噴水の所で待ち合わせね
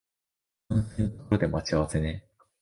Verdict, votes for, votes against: rejected, 0, 2